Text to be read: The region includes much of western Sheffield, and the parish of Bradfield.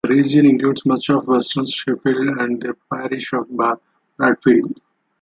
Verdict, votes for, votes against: rejected, 0, 2